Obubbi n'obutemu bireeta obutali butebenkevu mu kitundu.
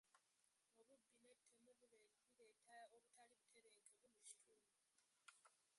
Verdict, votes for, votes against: rejected, 0, 2